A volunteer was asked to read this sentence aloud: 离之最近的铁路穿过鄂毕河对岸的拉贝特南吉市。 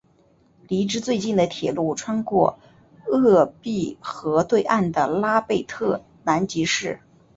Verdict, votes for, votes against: accepted, 4, 1